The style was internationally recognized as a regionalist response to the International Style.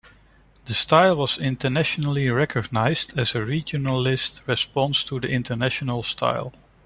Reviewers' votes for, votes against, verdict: 1, 2, rejected